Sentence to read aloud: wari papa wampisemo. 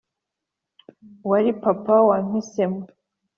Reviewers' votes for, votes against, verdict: 3, 0, accepted